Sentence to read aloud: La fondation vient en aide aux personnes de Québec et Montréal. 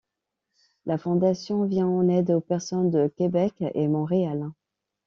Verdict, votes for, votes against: accepted, 2, 0